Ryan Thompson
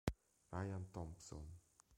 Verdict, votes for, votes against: accepted, 2, 1